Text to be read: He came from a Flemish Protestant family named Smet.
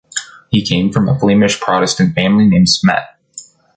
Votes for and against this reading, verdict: 2, 0, accepted